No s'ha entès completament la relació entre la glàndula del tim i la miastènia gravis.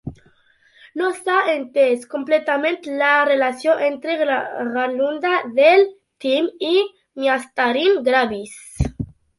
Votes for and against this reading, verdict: 1, 2, rejected